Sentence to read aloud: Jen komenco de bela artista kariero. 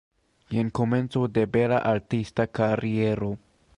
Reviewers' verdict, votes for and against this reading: rejected, 1, 2